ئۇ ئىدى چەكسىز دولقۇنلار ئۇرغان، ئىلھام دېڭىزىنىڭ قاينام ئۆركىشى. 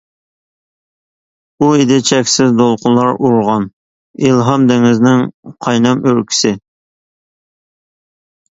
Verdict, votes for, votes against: rejected, 1, 2